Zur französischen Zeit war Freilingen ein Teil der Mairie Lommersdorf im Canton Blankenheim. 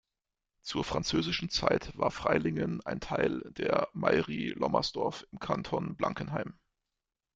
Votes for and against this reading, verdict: 2, 0, accepted